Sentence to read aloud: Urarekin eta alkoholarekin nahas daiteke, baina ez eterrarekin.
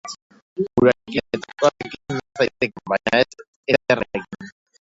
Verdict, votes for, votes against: rejected, 0, 3